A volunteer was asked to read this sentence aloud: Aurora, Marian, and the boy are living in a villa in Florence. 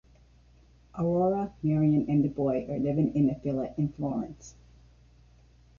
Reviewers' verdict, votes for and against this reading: rejected, 1, 2